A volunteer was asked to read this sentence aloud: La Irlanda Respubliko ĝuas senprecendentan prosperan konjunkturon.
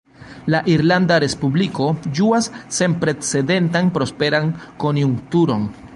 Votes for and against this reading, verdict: 0, 2, rejected